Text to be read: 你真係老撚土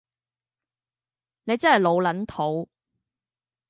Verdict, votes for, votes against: accepted, 2, 1